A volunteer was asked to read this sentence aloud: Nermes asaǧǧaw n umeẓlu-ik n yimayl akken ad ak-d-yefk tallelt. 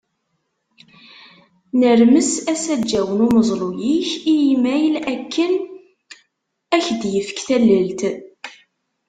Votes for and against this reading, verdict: 1, 2, rejected